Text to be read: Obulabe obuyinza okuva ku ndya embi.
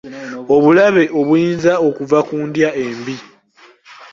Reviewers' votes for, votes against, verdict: 2, 1, accepted